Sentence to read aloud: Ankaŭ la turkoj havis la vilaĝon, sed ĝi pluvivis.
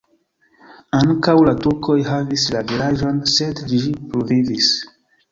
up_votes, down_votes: 2, 0